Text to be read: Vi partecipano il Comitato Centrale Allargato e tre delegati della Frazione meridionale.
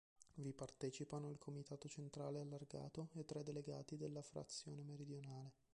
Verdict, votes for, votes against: rejected, 0, 2